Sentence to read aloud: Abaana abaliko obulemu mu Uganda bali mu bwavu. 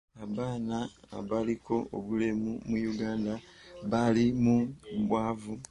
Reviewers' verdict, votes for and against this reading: rejected, 0, 2